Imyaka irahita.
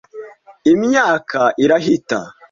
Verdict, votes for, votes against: accepted, 2, 0